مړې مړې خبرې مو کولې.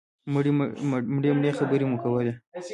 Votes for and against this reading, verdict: 1, 2, rejected